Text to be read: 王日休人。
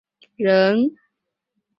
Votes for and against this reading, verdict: 0, 3, rejected